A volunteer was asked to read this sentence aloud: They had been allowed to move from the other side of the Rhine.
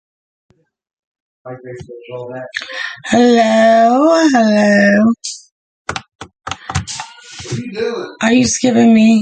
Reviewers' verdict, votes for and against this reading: rejected, 0, 2